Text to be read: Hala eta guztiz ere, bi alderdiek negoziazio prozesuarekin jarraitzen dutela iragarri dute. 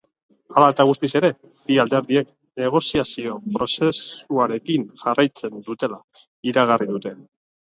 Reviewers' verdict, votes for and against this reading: rejected, 0, 2